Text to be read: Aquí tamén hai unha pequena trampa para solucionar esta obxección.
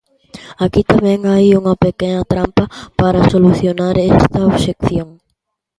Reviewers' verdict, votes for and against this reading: accepted, 2, 1